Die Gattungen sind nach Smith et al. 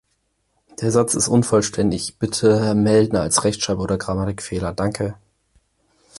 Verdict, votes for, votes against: rejected, 0, 4